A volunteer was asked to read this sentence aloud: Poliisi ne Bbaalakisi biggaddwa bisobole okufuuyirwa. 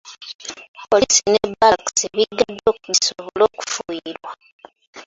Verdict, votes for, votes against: rejected, 2, 3